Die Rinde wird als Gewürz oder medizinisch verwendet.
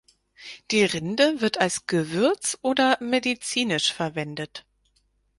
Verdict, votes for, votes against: accepted, 6, 0